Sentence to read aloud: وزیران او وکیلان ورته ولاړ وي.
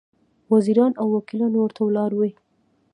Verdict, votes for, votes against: accepted, 2, 1